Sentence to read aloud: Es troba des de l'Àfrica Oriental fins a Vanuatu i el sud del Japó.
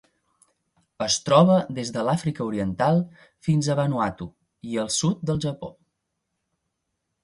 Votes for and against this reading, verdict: 2, 0, accepted